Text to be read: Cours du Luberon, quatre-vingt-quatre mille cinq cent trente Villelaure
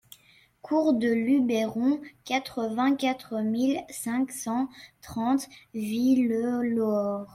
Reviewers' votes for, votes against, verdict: 0, 2, rejected